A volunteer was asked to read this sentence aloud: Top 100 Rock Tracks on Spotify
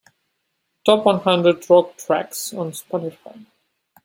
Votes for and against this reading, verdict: 0, 2, rejected